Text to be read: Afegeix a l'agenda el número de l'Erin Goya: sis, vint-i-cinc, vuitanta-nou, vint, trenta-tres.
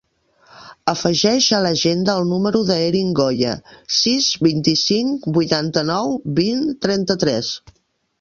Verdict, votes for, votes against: rejected, 0, 2